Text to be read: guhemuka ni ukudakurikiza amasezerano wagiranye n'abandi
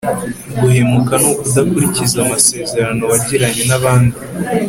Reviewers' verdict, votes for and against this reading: accepted, 2, 0